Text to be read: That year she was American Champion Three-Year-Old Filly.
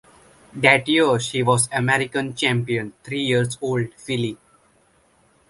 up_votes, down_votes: 0, 2